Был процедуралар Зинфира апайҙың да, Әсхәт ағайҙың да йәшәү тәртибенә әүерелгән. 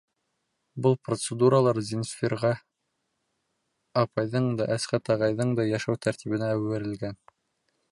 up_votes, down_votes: 0, 2